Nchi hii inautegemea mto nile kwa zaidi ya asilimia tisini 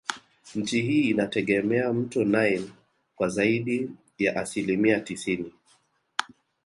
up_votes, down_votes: 3, 2